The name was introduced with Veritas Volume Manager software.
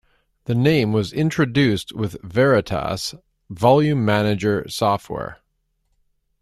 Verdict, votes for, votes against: accepted, 2, 0